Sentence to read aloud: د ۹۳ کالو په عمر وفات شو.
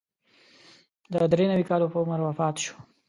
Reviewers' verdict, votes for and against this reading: rejected, 0, 2